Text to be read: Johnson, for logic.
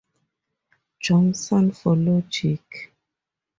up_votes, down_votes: 4, 0